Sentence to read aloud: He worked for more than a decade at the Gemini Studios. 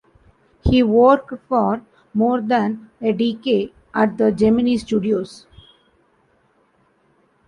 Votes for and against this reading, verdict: 2, 0, accepted